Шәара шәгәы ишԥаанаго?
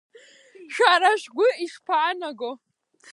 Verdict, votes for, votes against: rejected, 3, 4